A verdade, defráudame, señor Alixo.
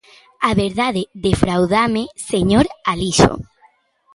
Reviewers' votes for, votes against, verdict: 0, 2, rejected